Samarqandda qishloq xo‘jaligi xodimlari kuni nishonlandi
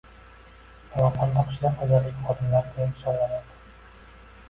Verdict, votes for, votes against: rejected, 1, 2